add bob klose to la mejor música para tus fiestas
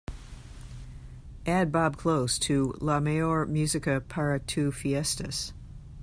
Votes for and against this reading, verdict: 1, 2, rejected